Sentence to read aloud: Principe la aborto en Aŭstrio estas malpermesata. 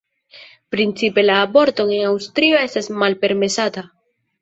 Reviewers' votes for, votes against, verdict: 2, 0, accepted